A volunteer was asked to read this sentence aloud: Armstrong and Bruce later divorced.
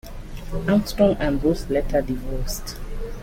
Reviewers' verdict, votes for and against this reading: accepted, 2, 0